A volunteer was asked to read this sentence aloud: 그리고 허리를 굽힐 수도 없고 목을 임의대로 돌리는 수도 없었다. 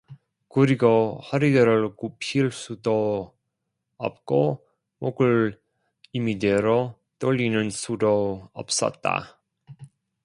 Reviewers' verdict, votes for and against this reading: rejected, 0, 2